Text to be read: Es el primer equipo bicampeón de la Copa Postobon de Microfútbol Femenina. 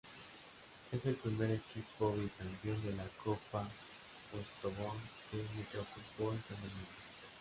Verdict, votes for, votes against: rejected, 0, 2